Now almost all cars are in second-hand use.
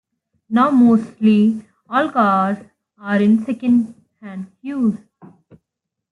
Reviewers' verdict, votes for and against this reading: rejected, 0, 2